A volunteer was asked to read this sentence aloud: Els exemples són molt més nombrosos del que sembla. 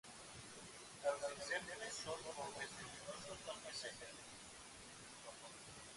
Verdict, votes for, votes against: rejected, 0, 2